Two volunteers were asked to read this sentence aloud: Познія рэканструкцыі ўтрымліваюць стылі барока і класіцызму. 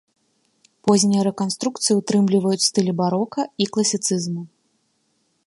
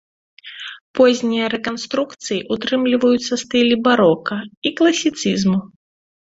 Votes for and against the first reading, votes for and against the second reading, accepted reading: 3, 0, 1, 2, first